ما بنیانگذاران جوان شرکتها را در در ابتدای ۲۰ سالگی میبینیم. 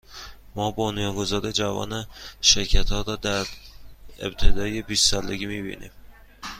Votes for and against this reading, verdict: 0, 2, rejected